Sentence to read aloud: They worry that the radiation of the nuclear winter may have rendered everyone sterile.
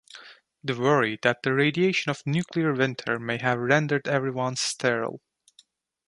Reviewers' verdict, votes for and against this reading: accepted, 2, 0